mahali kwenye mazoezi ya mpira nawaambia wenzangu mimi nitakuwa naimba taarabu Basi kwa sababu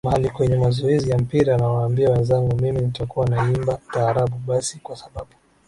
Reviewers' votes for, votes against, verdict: 9, 3, accepted